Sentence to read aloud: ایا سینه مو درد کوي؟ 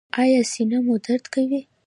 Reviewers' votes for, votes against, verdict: 2, 0, accepted